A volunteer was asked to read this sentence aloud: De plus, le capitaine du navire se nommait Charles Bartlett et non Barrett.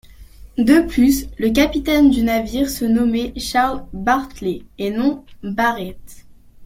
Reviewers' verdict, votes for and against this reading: rejected, 1, 2